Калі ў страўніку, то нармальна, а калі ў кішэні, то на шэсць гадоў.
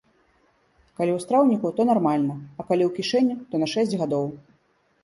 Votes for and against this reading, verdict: 1, 2, rejected